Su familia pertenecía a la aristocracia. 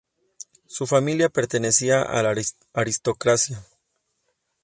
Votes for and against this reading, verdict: 0, 2, rejected